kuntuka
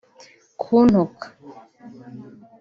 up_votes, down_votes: 2, 0